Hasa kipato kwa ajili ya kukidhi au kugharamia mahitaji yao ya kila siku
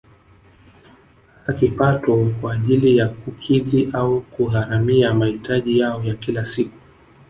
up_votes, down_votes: 1, 2